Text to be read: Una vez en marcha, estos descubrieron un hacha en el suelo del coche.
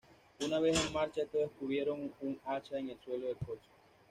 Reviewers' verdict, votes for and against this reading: rejected, 1, 2